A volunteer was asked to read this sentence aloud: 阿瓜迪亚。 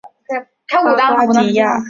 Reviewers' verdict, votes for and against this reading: rejected, 1, 2